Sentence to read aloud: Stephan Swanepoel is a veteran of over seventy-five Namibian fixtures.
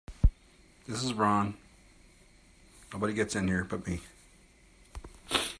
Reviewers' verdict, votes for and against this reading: rejected, 0, 2